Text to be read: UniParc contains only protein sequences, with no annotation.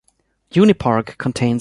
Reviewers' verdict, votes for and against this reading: rejected, 0, 2